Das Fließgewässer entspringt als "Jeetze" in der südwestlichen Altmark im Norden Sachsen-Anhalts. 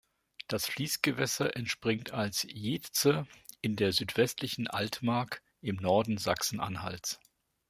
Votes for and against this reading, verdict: 3, 0, accepted